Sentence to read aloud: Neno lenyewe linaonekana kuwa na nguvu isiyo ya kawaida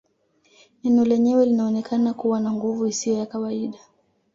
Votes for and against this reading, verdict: 2, 0, accepted